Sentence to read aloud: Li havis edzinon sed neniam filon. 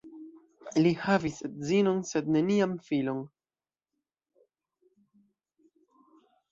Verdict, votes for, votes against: accepted, 2, 0